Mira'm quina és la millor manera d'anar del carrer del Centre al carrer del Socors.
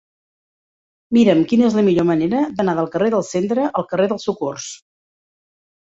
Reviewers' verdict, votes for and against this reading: accepted, 2, 0